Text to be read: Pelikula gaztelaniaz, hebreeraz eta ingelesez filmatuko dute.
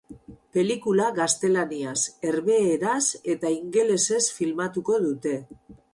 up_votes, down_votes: 0, 4